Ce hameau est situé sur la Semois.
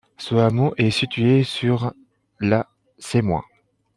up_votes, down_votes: 2, 0